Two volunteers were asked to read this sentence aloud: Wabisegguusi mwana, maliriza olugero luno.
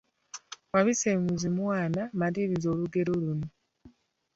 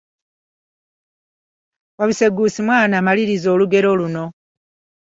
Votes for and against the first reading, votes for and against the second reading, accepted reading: 1, 2, 3, 0, second